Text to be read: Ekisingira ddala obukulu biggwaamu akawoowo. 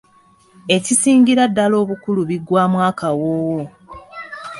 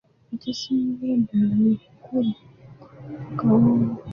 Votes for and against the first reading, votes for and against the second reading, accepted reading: 2, 1, 0, 2, first